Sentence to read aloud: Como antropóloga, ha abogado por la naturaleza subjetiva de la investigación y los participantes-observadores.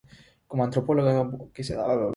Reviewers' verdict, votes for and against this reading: accepted, 3, 0